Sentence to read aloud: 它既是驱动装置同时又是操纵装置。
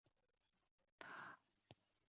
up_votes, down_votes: 0, 4